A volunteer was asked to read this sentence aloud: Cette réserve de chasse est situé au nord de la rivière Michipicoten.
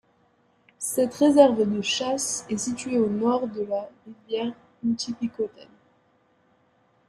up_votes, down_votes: 0, 2